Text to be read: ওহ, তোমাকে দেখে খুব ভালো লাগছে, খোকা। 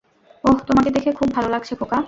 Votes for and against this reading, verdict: 0, 2, rejected